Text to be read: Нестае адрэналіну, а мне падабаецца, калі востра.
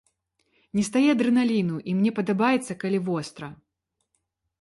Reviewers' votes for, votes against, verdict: 0, 2, rejected